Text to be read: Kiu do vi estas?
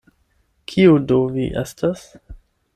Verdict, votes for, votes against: accepted, 8, 0